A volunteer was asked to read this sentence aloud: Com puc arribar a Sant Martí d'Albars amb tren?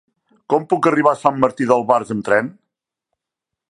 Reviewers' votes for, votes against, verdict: 3, 0, accepted